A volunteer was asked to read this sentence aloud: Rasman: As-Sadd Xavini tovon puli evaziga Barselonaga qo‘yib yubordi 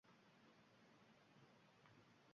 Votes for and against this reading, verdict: 0, 2, rejected